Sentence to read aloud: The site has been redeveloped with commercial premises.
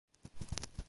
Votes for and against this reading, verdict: 0, 3, rejected